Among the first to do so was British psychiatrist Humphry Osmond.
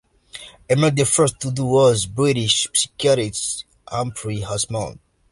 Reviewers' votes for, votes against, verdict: 0, 2, rejected